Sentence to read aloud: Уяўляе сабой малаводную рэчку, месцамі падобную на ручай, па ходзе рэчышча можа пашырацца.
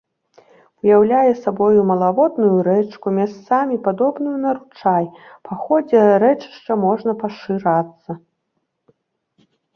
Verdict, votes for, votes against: rejected, 0, 2